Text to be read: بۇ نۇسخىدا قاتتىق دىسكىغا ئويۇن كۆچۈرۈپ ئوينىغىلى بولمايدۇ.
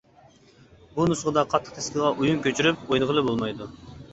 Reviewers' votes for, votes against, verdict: 2, 0, accepted